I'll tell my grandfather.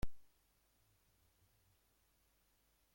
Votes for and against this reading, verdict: 0, 2, rejected